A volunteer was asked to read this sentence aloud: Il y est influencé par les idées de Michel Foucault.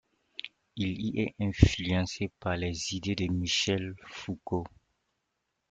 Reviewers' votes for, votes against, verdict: 2, 0, accepted